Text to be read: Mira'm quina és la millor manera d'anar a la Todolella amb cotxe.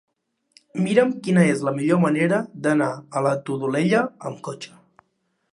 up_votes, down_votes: 3, 0